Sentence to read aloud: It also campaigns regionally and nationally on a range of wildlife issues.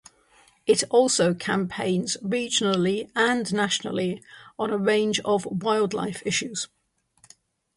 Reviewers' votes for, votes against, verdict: 3, 0, accepted